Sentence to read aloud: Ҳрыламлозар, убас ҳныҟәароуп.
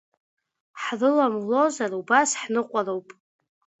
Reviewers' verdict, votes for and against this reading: accepted, 2, 0